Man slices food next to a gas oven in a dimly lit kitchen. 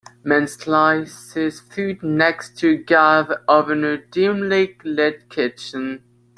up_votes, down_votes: 0, 2